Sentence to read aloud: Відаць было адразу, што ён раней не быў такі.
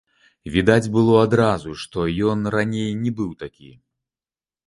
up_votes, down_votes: 1, 2